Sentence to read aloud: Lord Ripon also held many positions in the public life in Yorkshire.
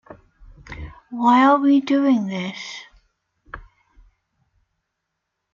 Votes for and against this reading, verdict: 0, 2, rejected